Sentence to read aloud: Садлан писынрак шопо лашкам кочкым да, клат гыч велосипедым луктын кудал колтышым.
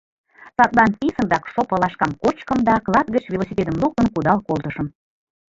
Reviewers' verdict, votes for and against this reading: rejected, 1, 2